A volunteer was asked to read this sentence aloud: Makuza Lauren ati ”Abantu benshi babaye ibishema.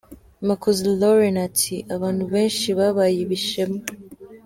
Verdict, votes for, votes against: accepted, 2, 0